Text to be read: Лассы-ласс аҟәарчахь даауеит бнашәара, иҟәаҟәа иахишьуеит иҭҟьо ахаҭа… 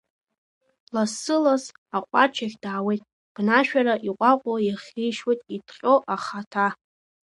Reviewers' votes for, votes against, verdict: 2, 0, accepted